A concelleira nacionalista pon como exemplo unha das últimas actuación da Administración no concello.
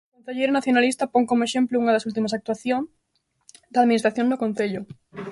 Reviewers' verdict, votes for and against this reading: rejected, 0, 2